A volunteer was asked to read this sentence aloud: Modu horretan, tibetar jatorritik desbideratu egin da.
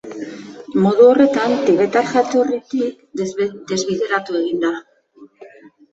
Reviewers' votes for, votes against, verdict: 0, 2, rejected